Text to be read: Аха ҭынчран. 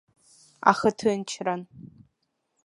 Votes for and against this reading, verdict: 4, 0, accepted